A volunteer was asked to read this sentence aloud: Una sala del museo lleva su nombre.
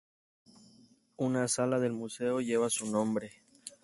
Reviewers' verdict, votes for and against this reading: accepted, 2, 0